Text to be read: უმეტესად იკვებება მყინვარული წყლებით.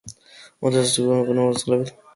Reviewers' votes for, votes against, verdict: 0, 2, rejected